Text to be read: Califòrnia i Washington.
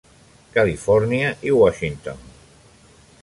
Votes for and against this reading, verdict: 3, 0, accepted